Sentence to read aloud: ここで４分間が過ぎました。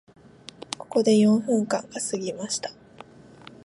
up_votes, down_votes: 0, 2